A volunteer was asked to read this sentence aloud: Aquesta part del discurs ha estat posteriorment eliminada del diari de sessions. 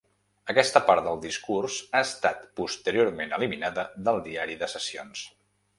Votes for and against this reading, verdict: 3, 0, accepted